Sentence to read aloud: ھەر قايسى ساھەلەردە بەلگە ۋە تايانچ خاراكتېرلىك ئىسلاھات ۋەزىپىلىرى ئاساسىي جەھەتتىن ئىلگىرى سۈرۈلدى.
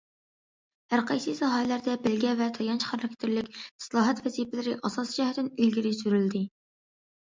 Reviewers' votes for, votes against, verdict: 2, 0, accepted